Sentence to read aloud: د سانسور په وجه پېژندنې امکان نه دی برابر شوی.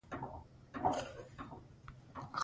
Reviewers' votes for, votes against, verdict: 2, 0, accepted